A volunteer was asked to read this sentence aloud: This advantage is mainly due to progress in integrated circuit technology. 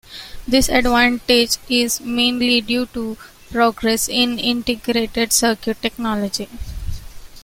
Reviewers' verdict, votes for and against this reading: accepted, 2, 0